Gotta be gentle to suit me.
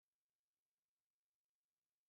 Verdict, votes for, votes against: rejected, 0, 3